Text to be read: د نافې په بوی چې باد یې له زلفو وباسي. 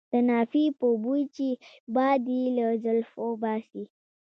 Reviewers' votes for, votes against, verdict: 2, 0, accepted